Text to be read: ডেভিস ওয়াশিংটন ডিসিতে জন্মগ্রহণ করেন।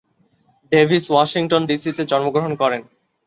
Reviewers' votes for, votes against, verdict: 2, 0, accepted